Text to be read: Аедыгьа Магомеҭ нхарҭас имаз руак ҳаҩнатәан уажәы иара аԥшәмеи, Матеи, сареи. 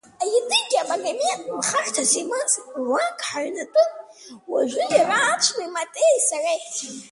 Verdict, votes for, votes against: rejected, 0, 2